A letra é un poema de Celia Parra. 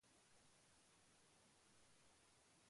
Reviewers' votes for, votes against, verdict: 0, 2, rejected